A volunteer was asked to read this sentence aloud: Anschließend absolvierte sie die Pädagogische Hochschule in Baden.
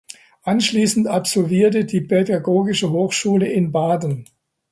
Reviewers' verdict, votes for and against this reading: rejected, 0, 2